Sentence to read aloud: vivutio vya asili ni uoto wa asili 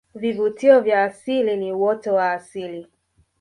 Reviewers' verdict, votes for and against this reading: accepted, 2, 1